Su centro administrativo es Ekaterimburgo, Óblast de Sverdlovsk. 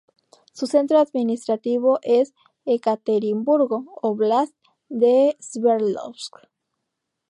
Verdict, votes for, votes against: accepted, 2, 0